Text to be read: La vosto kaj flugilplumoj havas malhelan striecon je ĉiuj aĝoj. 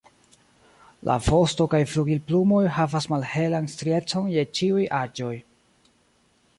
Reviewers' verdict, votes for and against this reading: rejected, 1, 2